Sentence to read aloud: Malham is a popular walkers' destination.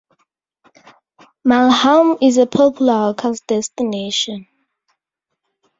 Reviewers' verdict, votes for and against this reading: rejected, 0, 2